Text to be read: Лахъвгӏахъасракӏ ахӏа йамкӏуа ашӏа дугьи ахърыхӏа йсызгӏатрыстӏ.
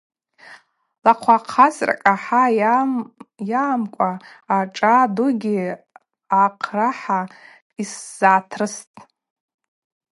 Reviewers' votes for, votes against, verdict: 0, 4, rejected